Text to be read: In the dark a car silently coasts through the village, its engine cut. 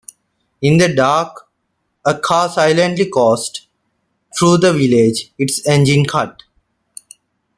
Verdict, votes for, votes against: rejected, 1, 2